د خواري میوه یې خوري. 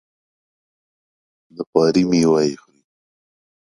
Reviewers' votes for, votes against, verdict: 2, 1, accepted